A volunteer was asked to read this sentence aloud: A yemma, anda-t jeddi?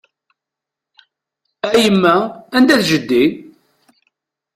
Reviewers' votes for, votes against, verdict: 1, 2, rejected